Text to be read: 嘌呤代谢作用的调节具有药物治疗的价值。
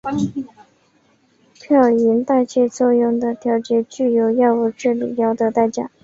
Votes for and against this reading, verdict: 0, 2, rejected